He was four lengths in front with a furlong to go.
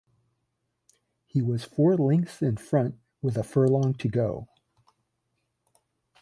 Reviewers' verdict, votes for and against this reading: rejected, 1, 2